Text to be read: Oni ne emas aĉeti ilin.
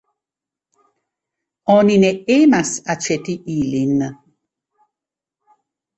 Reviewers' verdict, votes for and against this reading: accepted, 2, 1